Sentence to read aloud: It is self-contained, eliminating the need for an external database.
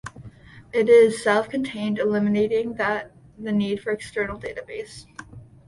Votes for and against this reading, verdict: 1, 2, rejected